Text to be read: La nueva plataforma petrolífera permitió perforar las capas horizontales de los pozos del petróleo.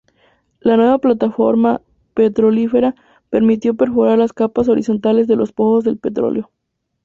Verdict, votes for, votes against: rejected, 0, 2